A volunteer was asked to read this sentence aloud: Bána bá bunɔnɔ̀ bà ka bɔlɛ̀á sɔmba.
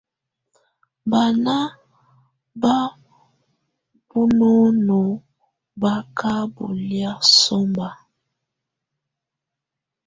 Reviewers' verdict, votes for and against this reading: accepted, 2, 0